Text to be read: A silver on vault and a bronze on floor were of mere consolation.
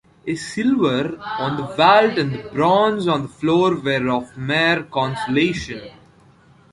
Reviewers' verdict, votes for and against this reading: rejected, 0, 2